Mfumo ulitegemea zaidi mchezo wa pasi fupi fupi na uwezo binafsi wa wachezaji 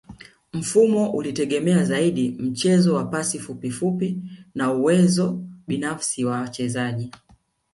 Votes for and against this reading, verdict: 1, 2, rejected